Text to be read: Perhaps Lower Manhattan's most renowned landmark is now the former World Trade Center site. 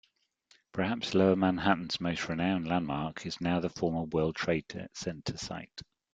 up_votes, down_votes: 0, 2